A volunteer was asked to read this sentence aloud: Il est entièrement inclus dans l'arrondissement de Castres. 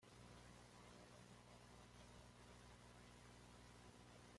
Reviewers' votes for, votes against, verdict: 1, 2, rejected